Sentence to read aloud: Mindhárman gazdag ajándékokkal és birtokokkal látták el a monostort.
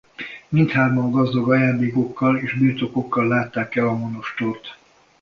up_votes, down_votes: 2, 0